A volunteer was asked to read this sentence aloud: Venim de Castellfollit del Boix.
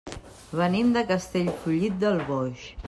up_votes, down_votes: 3, 0